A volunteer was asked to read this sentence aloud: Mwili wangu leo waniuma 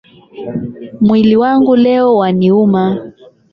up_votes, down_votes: 0, 8